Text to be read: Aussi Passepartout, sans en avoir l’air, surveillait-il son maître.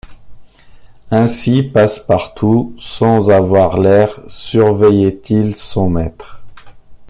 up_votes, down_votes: 0, 2